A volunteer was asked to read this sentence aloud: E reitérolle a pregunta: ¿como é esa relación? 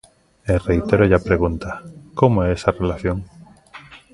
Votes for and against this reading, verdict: 2, 0, accepted